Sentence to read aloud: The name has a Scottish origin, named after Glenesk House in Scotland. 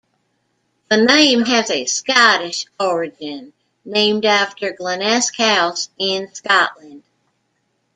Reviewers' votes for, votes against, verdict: 1, 2, rejected